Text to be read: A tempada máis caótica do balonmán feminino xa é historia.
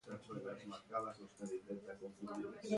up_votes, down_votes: 0, 2